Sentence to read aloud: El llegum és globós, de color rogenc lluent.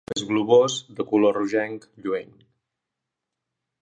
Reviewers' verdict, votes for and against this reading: rejected, 0, 2